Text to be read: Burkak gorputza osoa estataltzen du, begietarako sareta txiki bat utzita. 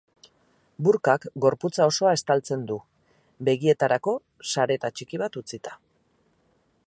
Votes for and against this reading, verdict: 4, 0, accepted